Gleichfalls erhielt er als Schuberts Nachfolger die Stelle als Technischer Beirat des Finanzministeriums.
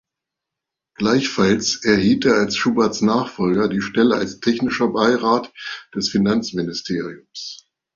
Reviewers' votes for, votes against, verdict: 2, 0, accepted